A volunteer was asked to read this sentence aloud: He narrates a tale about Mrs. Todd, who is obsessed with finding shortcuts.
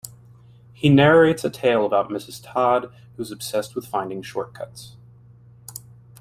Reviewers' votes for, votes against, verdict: 0, 2, rejected